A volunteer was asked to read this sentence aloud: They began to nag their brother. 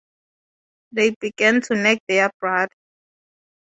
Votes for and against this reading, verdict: 0, 2, rejected